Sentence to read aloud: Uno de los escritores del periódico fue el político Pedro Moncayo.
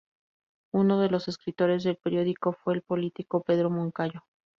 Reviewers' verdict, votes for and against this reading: rejected, 0, 2